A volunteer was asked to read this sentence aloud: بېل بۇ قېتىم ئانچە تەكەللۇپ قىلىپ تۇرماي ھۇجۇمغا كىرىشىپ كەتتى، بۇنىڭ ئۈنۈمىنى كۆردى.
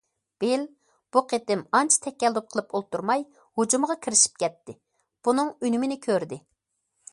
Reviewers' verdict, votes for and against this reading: rejected, 0, 2